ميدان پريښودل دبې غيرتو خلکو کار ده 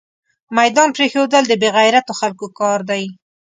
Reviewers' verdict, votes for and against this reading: accepted, 2, 0